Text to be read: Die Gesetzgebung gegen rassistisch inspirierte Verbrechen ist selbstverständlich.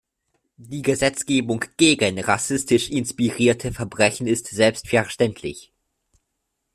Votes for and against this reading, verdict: 2, 0, accepted